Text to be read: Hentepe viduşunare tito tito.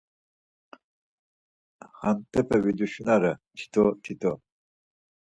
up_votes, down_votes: 2, 4